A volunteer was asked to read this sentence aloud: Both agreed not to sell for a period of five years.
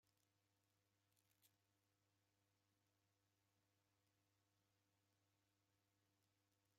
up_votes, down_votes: 0, 2